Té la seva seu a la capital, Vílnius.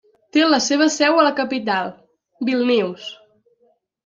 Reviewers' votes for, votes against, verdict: 1, 2, rejected